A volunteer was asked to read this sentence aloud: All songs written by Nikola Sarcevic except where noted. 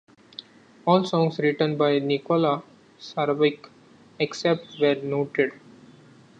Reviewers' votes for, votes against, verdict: 0, 2, rejected